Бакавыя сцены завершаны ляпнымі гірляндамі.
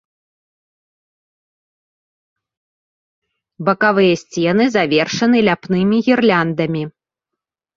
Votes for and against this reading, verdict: 3, 0, accepted